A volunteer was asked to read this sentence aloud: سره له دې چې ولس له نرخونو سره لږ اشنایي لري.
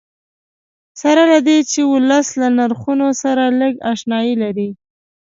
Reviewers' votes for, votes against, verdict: 2, 0, accepted